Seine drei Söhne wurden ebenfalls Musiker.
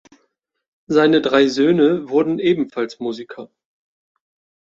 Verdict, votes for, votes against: accepted, 2, 0